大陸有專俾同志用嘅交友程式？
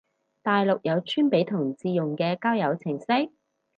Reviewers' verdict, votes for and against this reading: rejected, 2, 2